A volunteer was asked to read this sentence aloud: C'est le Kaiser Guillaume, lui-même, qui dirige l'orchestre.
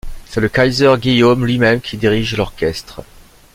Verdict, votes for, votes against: accepted, 2, 0